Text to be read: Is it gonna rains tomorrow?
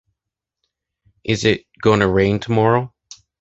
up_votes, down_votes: 0, 2